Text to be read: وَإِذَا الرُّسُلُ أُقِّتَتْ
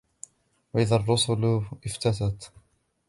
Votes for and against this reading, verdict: 1, 2, rejected